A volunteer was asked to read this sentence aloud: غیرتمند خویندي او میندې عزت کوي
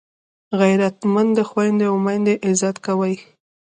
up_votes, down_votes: 1, 2